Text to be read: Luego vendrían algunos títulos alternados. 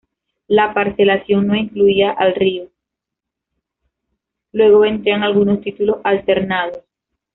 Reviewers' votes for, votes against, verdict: 0, 2, rejected